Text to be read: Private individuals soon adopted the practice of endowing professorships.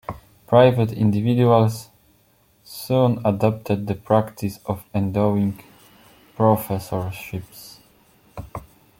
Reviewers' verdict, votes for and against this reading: rejected, 1, 2